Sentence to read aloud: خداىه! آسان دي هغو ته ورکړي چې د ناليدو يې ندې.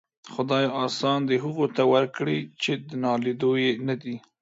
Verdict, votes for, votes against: rejected, 0, 2